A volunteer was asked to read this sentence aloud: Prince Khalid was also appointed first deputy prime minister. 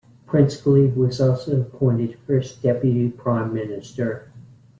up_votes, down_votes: 1, 2